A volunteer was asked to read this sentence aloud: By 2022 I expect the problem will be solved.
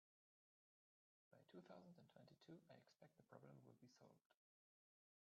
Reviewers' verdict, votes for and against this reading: rejected, 0, 2